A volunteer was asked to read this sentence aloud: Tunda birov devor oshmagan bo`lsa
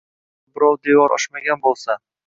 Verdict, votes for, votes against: rejected, 1, 2